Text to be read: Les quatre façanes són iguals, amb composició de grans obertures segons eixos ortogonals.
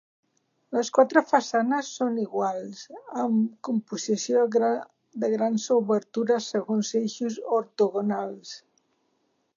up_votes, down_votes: 1, 2